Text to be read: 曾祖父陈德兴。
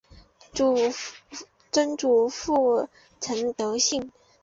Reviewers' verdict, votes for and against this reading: rejected, 0, 2